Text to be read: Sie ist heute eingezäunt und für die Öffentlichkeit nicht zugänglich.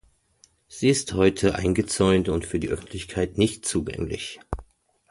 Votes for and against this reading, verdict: 2, 0, accepted